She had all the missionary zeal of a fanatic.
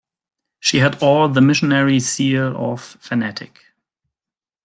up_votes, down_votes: 0, 2